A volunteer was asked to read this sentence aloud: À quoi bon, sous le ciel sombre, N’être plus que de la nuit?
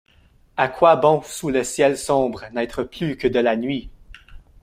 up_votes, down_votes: 0, 2